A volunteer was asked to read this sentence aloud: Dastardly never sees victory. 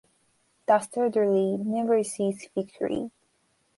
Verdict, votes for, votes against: accepted, 2, 0